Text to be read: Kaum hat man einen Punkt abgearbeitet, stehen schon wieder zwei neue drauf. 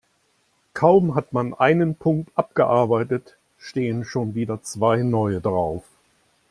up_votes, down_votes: 2, 0